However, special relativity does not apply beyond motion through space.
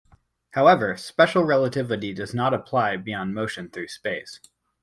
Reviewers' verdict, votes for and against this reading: accepted, 2, 0